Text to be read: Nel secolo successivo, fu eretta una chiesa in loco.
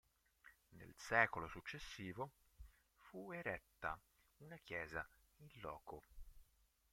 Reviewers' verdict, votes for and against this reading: rejected, 0, 2